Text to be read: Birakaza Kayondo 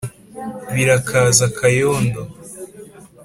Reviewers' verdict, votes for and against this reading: accepted, 2, 0